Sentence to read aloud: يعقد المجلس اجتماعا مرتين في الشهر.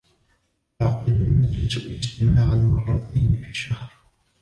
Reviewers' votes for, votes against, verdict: 0, 2, rejected